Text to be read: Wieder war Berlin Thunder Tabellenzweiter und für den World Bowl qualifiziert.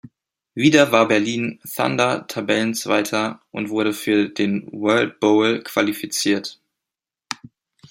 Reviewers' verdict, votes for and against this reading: rejected, 1, 2